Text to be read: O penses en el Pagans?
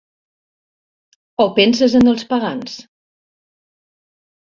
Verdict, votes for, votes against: rejected, 1, 2